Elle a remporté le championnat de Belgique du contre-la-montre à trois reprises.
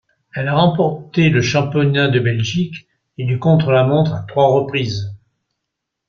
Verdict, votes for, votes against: accepted, 2, 0